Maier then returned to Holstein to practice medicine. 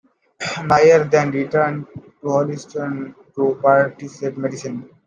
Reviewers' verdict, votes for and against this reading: rejected, 0, 2